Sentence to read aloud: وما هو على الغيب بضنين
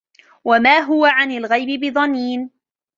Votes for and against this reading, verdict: 1, 2, rejected